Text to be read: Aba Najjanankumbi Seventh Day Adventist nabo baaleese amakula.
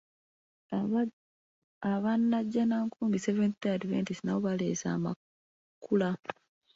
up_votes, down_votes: 0, 2